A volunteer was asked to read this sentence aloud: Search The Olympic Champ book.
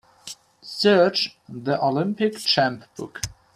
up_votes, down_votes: 3, 0